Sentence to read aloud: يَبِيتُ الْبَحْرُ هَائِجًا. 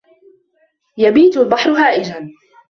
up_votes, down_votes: 2, 0